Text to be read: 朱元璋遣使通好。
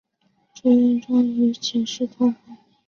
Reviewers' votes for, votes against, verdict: 1, 2, rejected